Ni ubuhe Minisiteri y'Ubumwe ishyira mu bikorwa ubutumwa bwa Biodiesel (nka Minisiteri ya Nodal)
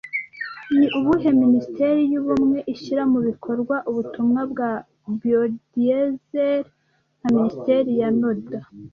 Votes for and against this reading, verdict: 2, 0, accepted